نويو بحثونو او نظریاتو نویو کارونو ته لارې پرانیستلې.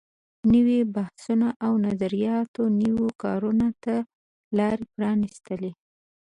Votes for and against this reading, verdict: 2, 0, accepted